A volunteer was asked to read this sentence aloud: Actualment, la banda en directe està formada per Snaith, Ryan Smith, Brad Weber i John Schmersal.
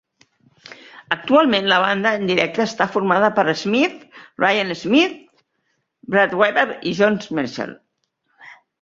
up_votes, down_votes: 0, 4